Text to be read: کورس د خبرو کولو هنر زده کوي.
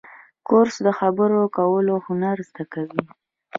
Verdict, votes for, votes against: rejected, 1, 2